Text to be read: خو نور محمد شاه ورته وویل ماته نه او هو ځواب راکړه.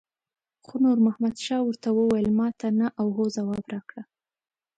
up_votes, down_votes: 2, 0